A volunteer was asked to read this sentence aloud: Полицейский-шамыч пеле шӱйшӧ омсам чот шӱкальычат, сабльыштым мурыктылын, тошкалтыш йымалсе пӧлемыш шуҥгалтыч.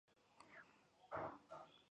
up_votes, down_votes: 1, 2